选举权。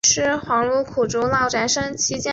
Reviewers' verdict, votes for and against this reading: rejected, 0, 2